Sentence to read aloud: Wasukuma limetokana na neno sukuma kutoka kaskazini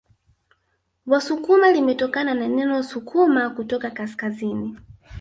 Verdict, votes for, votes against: rejected, 0, 2